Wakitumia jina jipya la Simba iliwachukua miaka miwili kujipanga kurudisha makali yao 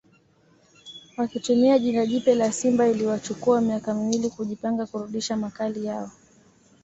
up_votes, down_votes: 2, 0